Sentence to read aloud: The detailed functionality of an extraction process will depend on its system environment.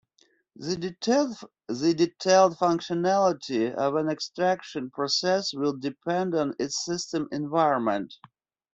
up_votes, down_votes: 1, 2